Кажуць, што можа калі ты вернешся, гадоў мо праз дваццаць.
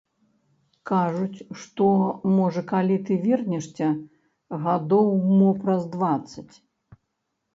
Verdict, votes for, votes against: rejected, 0, 2